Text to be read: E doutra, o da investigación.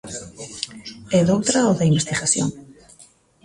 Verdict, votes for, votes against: accepted, 2, 1